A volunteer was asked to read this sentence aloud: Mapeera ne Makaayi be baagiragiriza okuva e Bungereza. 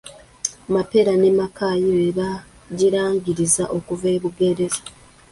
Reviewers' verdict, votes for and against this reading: rejected, 1, 2